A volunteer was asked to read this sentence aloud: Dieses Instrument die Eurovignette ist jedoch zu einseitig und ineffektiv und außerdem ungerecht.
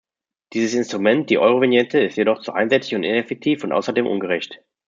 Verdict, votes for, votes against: rejected, 1, 2